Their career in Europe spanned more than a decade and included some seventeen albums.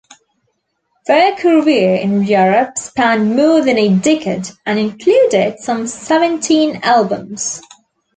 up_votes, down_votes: 2, 0